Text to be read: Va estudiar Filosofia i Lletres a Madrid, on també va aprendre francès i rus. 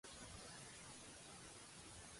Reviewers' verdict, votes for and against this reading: rejected, 0, 2